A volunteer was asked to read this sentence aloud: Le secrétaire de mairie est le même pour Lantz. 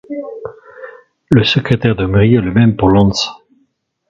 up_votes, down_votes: 1, 3